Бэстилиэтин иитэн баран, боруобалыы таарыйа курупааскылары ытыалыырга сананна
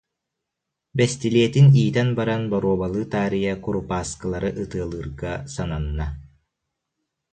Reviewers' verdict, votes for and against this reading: accepted, 2, 0